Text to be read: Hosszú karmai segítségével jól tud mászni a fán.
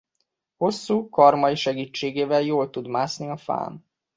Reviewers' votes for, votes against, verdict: 2, 0, accepted